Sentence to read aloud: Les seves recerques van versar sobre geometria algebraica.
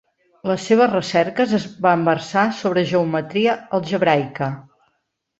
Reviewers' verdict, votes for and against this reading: accepted, 2, 0